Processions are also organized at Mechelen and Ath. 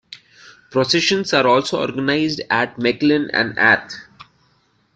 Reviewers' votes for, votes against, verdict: 1, 2, rejected